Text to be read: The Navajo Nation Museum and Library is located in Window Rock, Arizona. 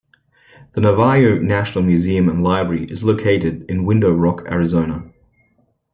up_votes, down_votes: 2, 0